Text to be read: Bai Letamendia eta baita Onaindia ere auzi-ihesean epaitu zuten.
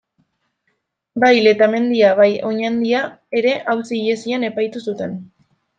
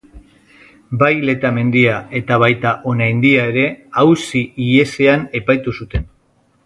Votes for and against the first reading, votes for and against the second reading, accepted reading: 0, 2, 3, 0, second